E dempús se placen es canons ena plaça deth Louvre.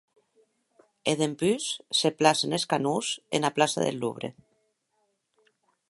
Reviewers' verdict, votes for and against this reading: accepted, 6, 0